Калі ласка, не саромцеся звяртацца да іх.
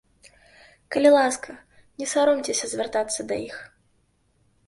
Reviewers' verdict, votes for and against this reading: accepted, 3, 0